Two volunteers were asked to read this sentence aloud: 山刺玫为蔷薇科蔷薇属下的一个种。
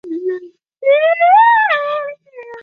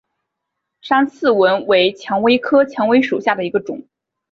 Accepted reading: second